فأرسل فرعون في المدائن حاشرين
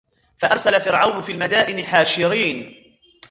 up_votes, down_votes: 1, 2